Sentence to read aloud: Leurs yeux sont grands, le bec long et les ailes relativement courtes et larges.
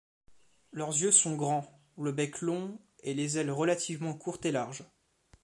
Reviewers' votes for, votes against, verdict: 2, 0, accepted